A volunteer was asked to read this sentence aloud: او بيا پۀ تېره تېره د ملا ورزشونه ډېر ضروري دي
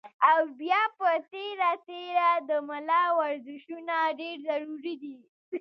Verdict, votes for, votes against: rejected, 1, 2